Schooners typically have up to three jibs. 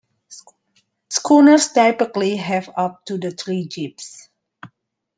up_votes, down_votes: 0, 2